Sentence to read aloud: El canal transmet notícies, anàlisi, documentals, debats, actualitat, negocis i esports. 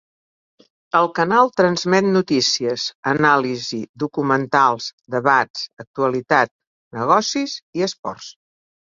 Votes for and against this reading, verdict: 3, 0, accepted